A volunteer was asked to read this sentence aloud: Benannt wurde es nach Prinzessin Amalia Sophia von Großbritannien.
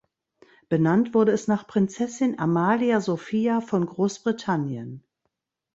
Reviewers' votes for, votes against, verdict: 2, 0, accepted